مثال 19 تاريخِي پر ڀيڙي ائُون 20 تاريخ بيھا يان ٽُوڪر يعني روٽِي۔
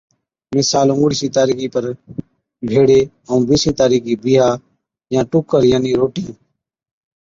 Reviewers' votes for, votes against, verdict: 0, 2, rejected